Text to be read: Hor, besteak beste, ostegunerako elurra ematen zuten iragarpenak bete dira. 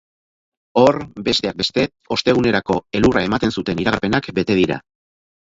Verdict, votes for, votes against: accepted, 2, 0